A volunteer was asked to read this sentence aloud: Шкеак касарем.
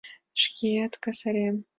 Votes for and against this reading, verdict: 2, 1, accepted